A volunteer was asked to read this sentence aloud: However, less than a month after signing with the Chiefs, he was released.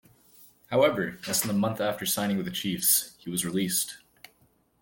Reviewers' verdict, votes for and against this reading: accepted, 2, 0